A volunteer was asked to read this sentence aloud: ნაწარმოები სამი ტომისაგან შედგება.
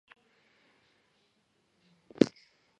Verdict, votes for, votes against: rejected, 0, 2